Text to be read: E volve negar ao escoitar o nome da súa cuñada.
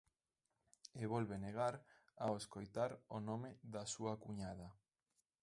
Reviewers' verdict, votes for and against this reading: accepted, 2, 0